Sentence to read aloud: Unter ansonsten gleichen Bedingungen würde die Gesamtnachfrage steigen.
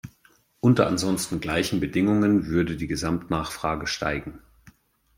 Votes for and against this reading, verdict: 2, 0, accepted